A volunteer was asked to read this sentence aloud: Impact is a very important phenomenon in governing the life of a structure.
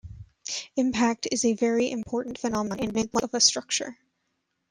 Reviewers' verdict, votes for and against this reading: rejected, 0, 2